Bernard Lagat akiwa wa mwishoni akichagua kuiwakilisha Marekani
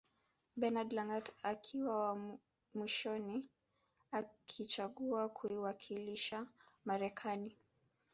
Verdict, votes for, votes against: rejected, 0, 2